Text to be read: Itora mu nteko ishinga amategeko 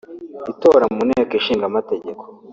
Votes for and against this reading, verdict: 2, 1, accepted